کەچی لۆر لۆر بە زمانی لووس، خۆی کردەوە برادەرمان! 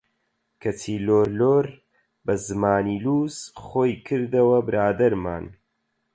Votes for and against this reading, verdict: 8, 0, accepted